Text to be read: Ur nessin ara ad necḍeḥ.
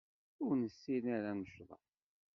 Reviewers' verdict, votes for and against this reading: rejected, 0, 2